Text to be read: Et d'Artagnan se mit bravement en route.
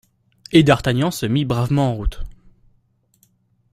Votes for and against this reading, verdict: 2, 0, accepted